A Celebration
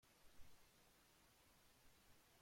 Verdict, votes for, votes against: rejected, 0, 2